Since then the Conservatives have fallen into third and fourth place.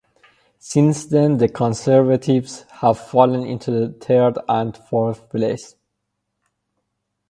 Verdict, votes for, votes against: rejected, 0, 4